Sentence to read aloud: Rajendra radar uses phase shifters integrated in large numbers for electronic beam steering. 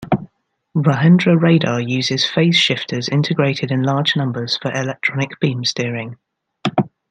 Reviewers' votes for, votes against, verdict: 2, 0, accepted